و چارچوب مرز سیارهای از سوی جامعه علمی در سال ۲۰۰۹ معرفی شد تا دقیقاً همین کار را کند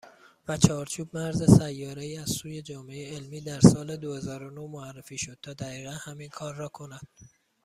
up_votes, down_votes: 0, 2